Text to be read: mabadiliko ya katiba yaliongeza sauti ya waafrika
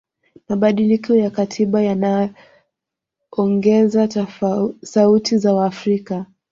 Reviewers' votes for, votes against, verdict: 0, 2, rejected